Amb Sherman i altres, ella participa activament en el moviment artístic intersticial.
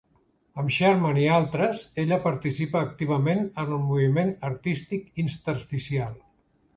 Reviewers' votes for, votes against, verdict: 2, 3, rejected